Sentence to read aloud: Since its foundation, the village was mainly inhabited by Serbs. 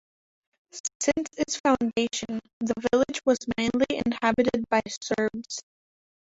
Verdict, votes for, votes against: accepted, 2, 1